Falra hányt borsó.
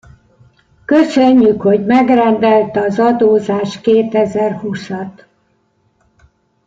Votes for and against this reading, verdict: 0, 2, rejected